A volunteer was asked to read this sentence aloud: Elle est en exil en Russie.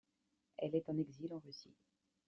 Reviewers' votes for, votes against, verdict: 2, 1, accepted